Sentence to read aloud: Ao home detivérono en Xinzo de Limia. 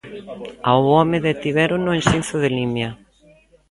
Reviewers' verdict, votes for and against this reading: accepted, 2, 1